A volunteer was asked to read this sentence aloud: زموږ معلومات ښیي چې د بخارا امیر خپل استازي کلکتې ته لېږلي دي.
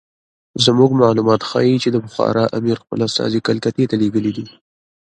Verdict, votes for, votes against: rejected, 1, 2